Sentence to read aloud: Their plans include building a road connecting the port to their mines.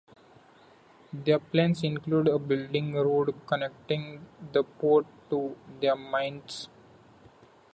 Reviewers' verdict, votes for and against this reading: accepted, 2, 0